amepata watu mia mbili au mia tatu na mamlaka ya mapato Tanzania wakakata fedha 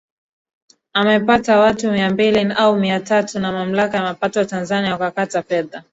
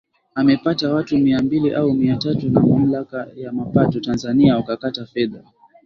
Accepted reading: second